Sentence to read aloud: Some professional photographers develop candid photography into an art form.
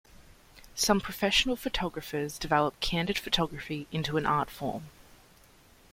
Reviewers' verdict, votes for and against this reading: accepted, 2, 0